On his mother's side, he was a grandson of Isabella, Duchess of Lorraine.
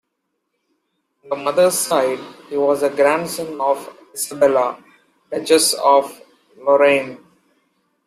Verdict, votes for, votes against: rejected, 0, 2